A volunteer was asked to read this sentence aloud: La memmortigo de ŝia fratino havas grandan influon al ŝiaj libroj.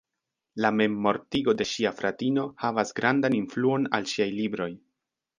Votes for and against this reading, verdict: 1, 2, rejected